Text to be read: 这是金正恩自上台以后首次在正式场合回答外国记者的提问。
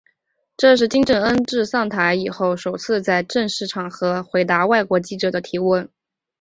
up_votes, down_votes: 1, 2